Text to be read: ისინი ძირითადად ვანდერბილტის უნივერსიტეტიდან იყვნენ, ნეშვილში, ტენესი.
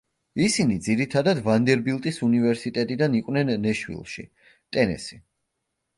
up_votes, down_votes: 2, 0